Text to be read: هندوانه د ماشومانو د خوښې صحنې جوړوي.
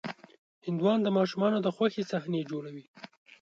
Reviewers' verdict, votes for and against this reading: rejected, 1, 2